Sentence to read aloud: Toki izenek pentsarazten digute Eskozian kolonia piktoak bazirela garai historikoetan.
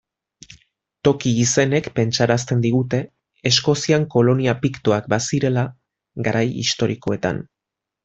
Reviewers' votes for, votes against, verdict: 1, 2, rejected